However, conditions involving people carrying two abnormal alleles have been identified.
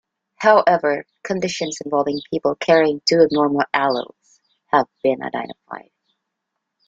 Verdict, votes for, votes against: accepted, 2, 0